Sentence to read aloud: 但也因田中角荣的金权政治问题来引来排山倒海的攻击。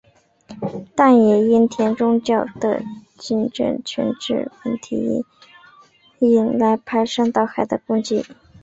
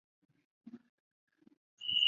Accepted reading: first